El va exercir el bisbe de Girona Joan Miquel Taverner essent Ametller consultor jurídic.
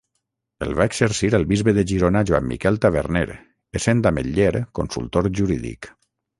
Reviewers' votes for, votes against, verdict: 6, 0, accepted